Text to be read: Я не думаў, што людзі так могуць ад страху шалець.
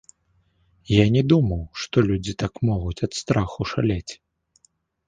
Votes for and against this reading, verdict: 2, 0, accepted